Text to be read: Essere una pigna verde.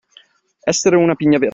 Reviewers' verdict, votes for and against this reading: accepted, 2, 1